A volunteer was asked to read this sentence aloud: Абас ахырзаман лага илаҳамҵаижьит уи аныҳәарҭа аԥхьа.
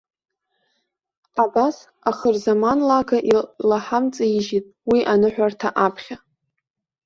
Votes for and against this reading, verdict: 1, 2, rejected